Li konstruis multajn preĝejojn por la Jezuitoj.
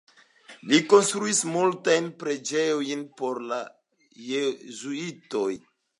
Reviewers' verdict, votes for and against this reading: accepted, 2, 1